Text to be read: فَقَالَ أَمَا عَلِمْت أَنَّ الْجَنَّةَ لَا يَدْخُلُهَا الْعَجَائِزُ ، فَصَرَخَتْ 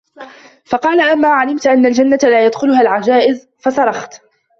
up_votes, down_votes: 1, 2